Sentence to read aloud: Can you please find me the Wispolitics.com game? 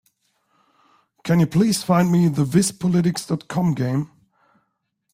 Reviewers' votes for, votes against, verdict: 2, 0, accepted